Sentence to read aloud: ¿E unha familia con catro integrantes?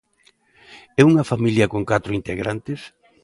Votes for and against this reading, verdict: 2, 0, accepted